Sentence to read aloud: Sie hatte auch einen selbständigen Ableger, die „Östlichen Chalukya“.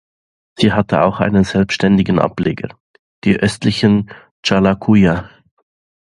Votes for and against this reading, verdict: 0, 2, rejected